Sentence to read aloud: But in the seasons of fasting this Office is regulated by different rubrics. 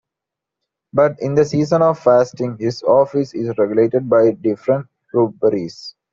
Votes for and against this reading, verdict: 0, 2, rejected